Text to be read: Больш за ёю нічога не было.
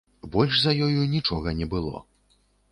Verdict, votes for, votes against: accepted, 3, 0